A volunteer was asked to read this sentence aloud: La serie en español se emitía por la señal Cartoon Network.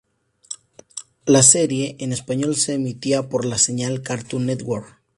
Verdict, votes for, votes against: accepted, 2, 0